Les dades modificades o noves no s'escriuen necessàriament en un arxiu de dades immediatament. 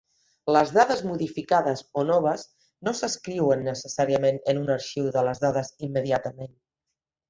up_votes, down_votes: 0, 2